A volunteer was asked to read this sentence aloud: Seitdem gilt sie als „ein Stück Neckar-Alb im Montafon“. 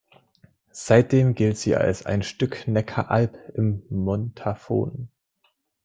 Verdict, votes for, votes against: accepted, 2, 0